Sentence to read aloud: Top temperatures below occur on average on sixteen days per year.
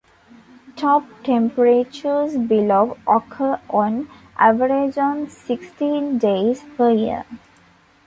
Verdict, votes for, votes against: rejected, 0, 2